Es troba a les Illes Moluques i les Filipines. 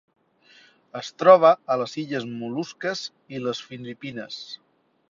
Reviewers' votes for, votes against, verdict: 0, 2, rejected